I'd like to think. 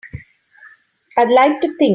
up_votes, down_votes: 2, 5